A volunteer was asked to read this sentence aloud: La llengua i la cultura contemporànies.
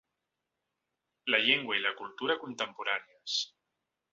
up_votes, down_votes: 4, 0